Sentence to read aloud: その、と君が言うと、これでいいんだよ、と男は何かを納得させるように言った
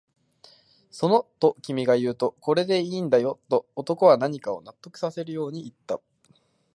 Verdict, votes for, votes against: accepted, 3, 0